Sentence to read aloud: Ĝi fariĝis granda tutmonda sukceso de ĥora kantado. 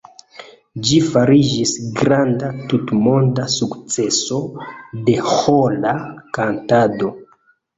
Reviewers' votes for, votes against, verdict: 2, 0, accepted